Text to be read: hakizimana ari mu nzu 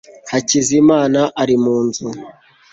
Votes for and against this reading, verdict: 2, 0, accepted